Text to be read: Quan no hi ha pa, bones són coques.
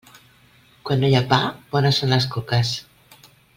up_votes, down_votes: 0, 2